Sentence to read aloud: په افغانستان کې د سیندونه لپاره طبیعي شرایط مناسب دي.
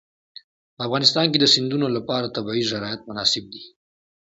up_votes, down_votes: 2, 0